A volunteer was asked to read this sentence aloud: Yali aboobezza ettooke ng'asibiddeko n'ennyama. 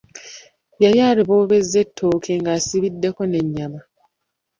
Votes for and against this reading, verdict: 0, 2, rejected